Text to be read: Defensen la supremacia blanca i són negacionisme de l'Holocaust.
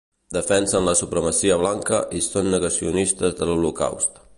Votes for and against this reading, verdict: 1, 2, rejected